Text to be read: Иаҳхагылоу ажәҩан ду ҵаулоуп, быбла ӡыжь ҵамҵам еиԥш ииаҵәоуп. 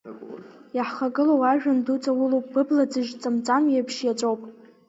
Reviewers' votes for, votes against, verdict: 8, 0, accepted